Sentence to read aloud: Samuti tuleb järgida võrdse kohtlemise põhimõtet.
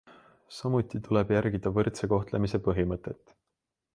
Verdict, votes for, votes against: accepted, 2, 0